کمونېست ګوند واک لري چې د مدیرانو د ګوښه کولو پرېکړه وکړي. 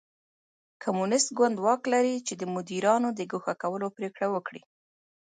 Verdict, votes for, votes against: accepted, 2, 0